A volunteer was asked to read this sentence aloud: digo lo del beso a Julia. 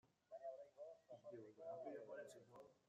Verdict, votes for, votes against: rejected, 0, 2